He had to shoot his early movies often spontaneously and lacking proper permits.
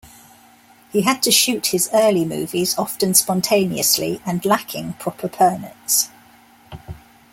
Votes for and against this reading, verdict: 2, 0, accepted